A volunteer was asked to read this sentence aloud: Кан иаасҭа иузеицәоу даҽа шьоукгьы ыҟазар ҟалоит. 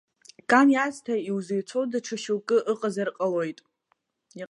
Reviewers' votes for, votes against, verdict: 2, 1, accepted